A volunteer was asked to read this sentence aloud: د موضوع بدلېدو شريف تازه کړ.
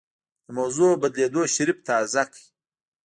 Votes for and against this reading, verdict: 2, 0, accepted